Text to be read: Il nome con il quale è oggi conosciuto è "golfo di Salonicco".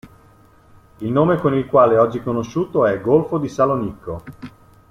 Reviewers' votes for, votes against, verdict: 2, 0, accepted